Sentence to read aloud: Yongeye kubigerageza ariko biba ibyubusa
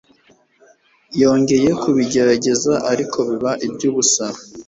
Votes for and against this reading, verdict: 2, 0, accepted